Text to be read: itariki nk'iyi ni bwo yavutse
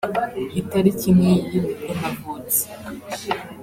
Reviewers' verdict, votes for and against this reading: rejected, 0, 2